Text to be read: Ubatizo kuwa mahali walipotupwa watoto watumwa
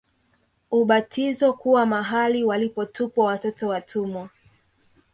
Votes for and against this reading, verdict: 2, 0, accepted